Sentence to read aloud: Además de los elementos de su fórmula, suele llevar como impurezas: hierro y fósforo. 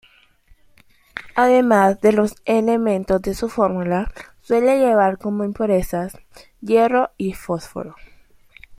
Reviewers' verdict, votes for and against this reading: accepted, 2, 0